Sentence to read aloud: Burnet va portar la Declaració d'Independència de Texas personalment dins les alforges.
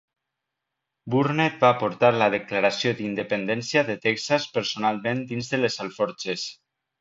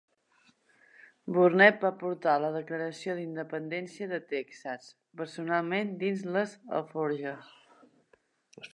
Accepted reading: second